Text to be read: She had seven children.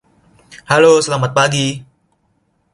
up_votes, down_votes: 0, 2